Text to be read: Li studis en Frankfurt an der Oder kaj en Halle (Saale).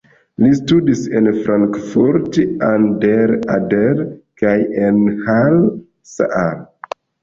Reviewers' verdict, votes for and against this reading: rejected, 1, 2